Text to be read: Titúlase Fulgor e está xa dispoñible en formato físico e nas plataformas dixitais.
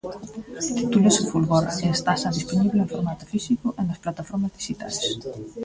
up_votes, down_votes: 0, 2